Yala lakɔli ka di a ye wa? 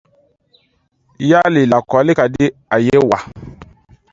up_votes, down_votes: 2, 0